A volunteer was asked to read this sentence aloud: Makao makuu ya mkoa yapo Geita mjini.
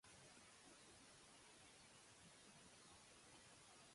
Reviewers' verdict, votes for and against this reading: rejected, 0, 2